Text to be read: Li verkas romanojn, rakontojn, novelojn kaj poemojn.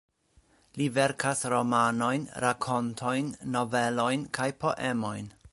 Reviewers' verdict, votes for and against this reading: accepted, 2, 0